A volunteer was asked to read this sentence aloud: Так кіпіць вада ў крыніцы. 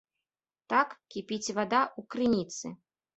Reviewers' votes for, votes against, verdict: 2, 0, accepted